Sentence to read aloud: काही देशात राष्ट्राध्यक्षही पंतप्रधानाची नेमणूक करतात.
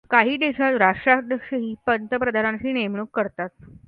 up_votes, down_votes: 2, 0